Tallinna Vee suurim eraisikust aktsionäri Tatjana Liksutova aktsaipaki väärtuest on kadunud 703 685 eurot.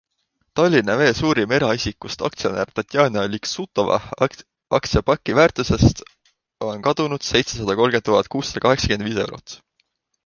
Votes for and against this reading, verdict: 0, 2, rejected